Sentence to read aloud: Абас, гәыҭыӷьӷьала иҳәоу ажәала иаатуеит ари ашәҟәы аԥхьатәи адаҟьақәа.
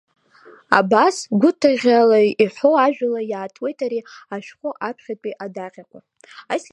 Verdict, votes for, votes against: accepted, 2, 1